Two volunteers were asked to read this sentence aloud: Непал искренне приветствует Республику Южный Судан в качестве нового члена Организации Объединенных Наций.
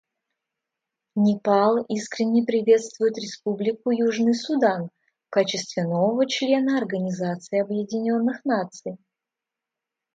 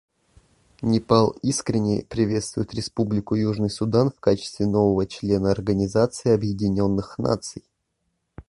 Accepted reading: first